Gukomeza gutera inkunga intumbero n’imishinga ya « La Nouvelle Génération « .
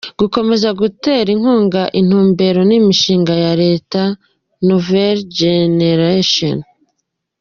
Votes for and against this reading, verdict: 2, 1, accepted